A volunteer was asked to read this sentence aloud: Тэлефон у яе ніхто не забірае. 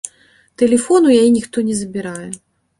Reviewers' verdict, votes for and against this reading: accepted, 2, 0